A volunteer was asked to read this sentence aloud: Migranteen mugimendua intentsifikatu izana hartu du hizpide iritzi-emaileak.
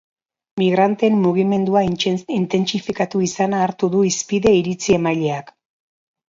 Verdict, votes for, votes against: rejected, 0, 2